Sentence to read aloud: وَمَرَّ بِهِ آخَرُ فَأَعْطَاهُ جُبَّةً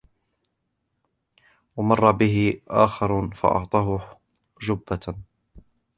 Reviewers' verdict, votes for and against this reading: rejected, 1, 2